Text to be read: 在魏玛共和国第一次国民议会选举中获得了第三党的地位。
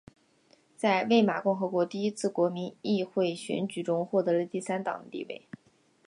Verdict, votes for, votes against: accepted, 2, 0